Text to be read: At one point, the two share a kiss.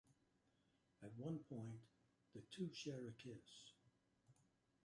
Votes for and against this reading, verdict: 2, 1, accepted